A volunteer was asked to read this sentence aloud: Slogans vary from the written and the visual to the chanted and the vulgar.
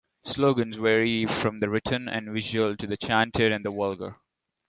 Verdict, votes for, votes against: rejected, 1, 2